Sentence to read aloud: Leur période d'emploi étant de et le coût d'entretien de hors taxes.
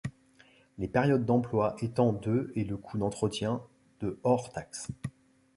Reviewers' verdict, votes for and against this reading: rejected, 1, 2